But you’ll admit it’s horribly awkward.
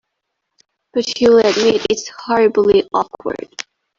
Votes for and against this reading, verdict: 0, 2, rejected